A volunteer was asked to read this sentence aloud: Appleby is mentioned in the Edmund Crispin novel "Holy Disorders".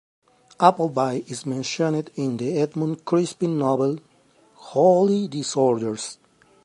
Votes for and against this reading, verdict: 3, 0, accepted